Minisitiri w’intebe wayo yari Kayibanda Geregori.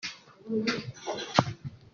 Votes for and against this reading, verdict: 0, 2, rejected